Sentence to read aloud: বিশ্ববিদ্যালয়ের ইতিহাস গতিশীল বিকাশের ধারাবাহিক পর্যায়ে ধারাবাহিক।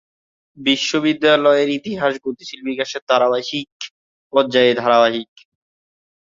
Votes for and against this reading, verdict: 0, 2, rejected